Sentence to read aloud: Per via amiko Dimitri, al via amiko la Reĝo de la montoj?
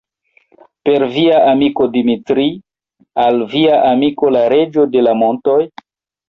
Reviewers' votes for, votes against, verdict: 1, 2, rejected